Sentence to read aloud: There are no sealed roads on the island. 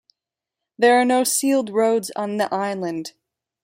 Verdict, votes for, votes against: accepted, 2, 0